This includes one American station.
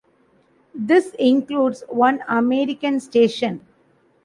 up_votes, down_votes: 2, 0